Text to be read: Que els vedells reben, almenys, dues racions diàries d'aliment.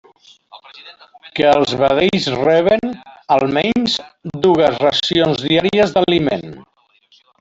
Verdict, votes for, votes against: accepted, 2, 0